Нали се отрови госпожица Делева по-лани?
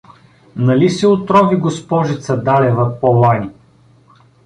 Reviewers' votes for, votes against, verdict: 0, 2, rejected